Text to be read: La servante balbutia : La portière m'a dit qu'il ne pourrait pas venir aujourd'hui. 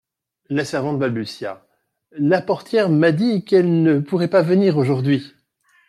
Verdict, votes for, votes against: rejected, 1, 2